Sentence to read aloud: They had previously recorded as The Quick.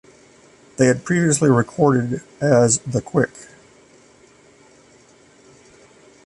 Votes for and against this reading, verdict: 2, 1, accepted